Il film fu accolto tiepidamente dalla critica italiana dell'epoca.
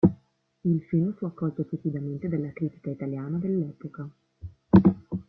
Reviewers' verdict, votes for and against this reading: rejected, 1, 2